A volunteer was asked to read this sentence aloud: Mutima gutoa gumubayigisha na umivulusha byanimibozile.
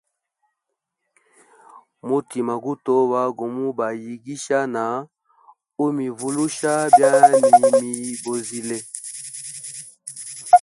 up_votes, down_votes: 1, 2